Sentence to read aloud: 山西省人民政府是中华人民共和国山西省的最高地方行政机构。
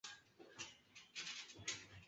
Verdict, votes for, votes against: rejected, 3, 4